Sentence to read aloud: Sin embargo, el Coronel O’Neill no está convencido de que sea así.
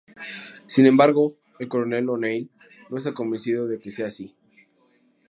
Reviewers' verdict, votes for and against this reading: accepted, 4, 0